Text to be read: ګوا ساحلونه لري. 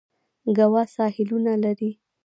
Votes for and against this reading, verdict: 2, 1, accepted